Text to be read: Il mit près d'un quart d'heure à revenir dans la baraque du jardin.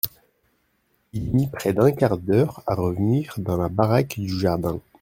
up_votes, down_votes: 1, 2